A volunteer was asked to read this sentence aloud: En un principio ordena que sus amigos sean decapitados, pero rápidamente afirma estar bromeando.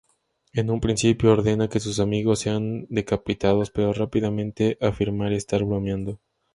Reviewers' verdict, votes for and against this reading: accepted, 2, 0